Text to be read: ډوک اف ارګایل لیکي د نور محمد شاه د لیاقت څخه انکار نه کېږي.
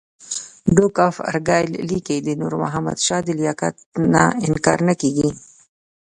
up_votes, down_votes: 0, 2